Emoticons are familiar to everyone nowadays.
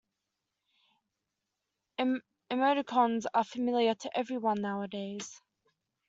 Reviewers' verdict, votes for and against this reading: rejected, 1, 2